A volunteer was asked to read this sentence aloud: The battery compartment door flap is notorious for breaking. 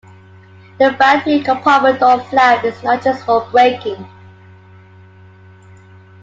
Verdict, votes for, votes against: rejected, 1, 2